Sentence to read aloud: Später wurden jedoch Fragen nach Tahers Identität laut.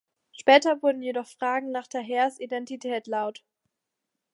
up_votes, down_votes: 2, 0